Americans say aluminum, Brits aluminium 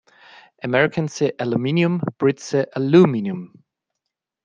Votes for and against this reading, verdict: 1, 2, rejected